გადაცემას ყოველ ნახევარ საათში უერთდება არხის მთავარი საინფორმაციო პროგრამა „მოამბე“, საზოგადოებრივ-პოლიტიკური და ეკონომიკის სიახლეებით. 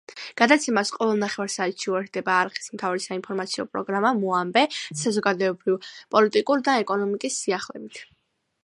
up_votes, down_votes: 1, 2